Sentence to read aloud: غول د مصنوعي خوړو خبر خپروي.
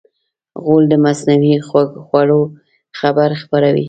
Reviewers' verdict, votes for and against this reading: rejected, 0, 2